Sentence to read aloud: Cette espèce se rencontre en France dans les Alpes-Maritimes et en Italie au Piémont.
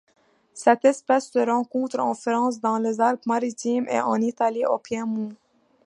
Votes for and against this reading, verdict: 2, 0, accepted